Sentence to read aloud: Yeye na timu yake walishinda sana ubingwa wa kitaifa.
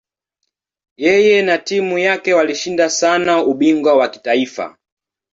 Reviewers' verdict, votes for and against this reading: accepted, 2, 0